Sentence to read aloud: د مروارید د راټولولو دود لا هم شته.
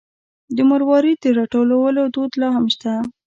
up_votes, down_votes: 1, 2